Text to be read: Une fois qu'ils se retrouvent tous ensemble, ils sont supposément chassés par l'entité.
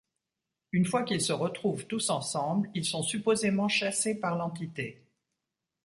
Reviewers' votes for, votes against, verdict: 2, 0, accepted